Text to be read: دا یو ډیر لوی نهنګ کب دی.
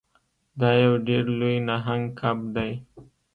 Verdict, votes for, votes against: accepted, 2, 0